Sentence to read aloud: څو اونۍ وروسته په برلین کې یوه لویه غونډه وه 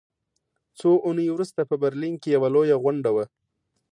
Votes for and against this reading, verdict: 2, 0, accepted